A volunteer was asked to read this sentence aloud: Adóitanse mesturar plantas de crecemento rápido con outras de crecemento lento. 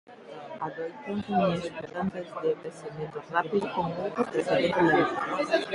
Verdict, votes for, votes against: rejected, 0, 2